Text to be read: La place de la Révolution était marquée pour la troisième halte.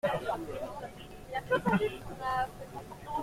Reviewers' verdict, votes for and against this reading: rejected, 0, 2